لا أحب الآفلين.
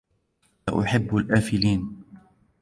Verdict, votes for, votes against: accepted, 2, 0